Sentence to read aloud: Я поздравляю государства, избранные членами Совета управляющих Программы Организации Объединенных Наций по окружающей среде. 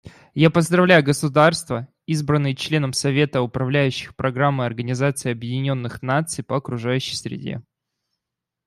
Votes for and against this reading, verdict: 1, 2, rejected